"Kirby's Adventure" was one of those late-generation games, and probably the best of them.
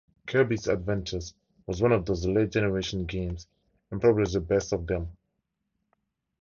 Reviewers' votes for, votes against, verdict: 0, 2, rejected